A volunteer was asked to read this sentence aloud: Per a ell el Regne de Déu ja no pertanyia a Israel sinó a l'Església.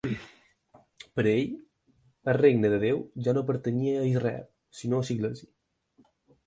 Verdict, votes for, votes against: rejected, 2, 4